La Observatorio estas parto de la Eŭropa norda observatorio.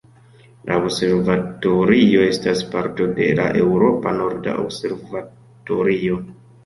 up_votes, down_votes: 2, 1